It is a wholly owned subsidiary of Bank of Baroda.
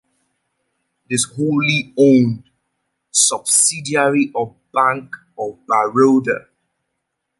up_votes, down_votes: 1, 2